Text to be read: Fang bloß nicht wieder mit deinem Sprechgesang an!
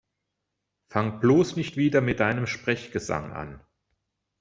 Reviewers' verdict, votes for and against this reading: accepted, 2, 0